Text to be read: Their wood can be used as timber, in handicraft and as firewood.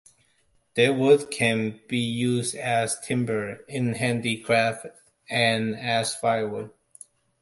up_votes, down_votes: 2, 1